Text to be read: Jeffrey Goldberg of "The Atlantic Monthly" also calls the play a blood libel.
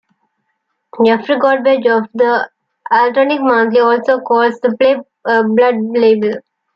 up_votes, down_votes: 2, 0